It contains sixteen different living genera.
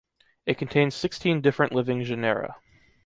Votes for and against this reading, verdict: 2, 0, accepted